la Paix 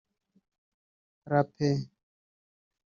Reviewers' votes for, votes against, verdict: 0, 2, rejected